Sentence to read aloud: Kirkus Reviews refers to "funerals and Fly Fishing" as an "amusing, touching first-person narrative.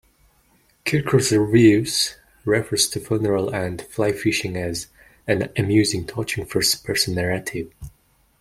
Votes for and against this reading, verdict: 1, 2, rejected